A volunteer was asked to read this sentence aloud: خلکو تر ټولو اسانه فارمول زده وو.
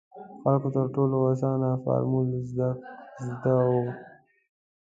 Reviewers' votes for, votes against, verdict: 0, 2, rejected